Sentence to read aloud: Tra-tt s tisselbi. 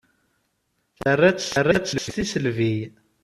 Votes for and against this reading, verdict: 0, 2, rejected